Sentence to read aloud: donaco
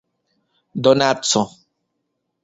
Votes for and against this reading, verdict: 1, 2, rejected